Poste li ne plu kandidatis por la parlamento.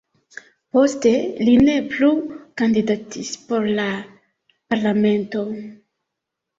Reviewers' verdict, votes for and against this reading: rejected, 2, 3